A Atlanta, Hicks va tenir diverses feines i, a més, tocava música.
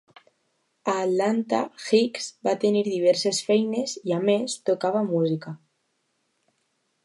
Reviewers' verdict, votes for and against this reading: accepted, 2, 0